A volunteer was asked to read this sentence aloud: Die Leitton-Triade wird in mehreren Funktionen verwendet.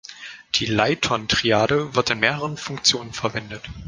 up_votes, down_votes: 1, 2